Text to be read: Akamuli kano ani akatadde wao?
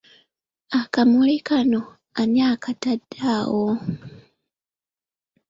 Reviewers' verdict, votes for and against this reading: rejected, 1, 2